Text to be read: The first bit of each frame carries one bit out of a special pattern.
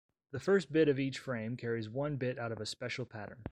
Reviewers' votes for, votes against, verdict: 2, 1, accepted